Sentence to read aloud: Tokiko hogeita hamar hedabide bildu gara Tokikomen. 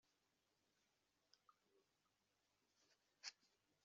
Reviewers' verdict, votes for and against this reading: rejected, 0, 3